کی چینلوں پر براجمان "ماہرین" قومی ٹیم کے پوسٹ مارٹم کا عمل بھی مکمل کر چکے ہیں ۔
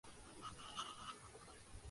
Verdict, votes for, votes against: rejected, 0, 2